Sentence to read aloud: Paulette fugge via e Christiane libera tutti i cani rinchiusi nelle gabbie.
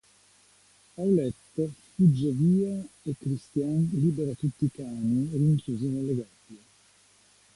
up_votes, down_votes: 2, 1